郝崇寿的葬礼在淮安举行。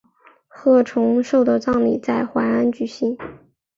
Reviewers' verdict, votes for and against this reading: accepted, 3, 0